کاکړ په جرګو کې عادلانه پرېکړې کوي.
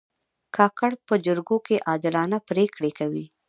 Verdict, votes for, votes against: accepted, 2, 1